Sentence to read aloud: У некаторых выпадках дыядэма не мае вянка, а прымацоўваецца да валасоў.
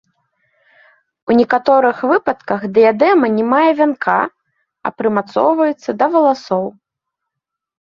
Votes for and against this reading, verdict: 1, 2, rejected